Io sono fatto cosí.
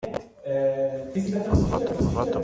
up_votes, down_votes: 0, 2